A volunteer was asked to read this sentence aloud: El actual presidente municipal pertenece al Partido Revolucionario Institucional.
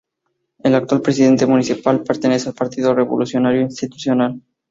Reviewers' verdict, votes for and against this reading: rejected, 0, 2